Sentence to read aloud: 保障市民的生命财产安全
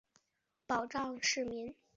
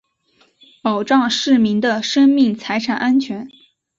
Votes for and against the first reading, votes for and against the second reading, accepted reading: 0, 3, 2, 0, second